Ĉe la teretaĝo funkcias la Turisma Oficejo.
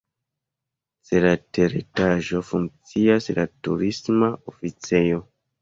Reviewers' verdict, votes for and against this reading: rejected, 0, 2